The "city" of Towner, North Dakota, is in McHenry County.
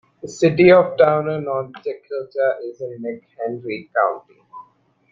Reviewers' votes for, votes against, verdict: 0, 2, rejected